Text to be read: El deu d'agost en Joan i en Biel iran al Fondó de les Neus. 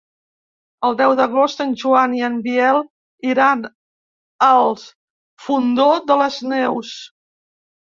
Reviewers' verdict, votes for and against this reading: rejected, 1, 3